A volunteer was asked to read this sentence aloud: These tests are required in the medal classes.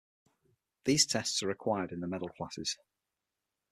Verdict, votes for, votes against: accepted, 6, 0